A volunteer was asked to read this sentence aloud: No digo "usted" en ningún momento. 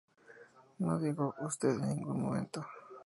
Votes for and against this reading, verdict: 2, 0, accepted